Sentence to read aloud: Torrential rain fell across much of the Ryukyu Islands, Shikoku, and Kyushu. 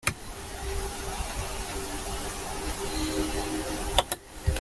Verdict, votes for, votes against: rejected, 0, 2